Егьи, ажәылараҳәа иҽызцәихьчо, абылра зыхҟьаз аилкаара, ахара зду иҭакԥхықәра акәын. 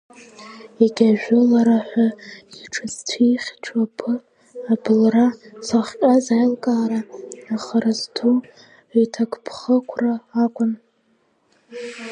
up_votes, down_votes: 2, 0